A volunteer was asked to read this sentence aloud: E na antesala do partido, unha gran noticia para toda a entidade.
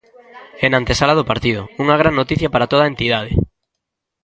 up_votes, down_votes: 1, 2